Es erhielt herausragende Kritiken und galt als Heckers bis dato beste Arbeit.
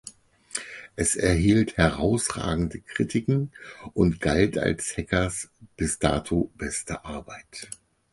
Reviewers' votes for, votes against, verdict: 4, 0, accepted